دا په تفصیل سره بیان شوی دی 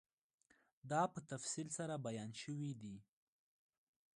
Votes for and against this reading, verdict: 1, 2, rejected